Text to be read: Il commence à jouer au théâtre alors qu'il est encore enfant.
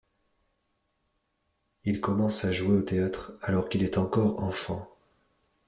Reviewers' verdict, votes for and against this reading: accepted, 2, 0